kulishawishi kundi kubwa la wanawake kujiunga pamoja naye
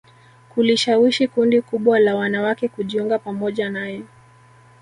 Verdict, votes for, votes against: accepted, 2, 1